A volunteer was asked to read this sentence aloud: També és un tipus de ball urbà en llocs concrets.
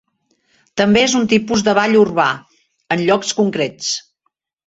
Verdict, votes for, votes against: accepted, 4, 0